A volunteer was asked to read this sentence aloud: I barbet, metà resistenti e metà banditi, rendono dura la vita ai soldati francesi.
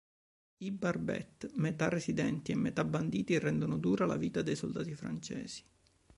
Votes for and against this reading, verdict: 0, 2, rejected